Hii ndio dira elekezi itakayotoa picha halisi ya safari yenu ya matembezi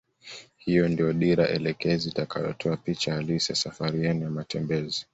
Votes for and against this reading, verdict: 2, 1, accepted